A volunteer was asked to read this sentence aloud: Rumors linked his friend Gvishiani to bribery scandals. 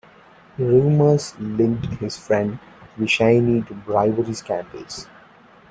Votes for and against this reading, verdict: 1, 2, rejected